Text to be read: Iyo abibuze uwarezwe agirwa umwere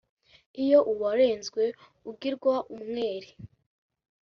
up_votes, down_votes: 2, 3